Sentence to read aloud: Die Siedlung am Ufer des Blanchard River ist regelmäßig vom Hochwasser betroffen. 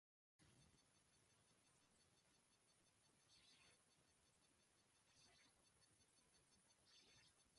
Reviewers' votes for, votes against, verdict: 0, 2, rejected